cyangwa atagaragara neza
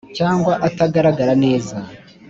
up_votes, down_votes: 3, 0